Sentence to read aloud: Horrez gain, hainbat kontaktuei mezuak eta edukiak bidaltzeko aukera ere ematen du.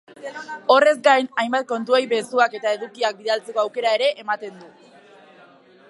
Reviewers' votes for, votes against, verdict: 1, 2, rejected